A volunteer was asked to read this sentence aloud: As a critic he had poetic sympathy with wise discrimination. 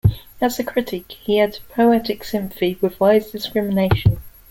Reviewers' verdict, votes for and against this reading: rejected, 1, 2